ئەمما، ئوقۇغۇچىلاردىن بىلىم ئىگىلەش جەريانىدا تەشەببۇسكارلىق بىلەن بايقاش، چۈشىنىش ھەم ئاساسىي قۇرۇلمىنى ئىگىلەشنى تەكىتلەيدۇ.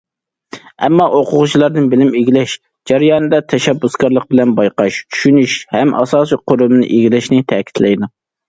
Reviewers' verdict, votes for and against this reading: accepted, 2, 0